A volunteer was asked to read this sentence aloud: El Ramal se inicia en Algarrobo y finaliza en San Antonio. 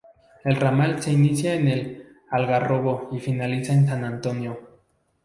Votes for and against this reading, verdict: 0, 2, rejected